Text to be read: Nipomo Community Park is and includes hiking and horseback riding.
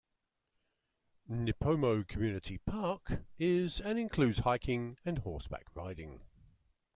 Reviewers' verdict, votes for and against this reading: accepted, 2, 1